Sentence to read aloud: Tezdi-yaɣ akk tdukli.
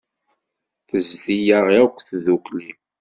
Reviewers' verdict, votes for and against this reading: accepted, 2, 0